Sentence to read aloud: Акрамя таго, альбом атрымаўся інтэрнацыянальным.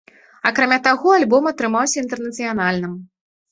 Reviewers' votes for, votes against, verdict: 2, 0, accepted